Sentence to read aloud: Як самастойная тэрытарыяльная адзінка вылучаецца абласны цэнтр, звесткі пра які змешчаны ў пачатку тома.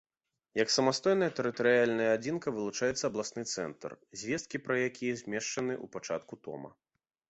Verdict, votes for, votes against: accepted, 2, 0